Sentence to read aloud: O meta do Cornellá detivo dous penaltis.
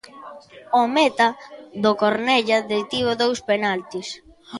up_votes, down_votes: 0, 2